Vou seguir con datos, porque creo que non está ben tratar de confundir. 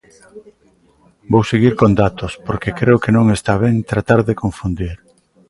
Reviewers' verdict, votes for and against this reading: accepted, 2, 0